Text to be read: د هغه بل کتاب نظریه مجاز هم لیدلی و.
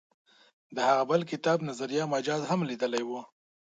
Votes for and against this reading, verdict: 2, 0, accepted